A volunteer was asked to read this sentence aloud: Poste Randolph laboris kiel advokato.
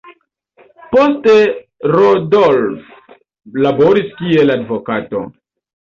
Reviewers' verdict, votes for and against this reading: accepted, 2, 0